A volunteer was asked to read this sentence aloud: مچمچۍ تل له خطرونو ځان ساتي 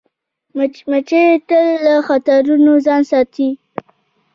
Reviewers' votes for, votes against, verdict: 1, 2, rejected